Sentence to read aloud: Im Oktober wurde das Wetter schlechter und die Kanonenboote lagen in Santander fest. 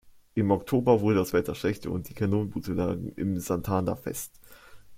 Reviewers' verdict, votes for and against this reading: rejected, 1, 2